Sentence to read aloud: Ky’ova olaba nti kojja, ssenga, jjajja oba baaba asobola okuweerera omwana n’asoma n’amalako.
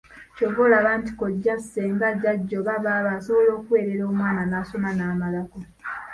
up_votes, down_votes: 0, 2